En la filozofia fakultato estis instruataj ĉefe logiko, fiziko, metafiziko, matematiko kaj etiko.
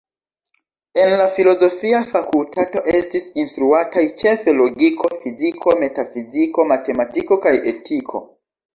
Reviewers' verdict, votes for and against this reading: rejected, 0, 2